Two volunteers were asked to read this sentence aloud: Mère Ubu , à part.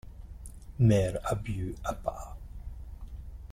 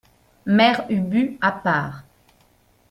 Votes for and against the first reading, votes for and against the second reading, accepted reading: 0, 2, 2, 0, second